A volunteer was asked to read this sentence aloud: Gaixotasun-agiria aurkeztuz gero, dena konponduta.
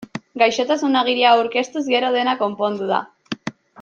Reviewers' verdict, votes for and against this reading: rejected, 1, 2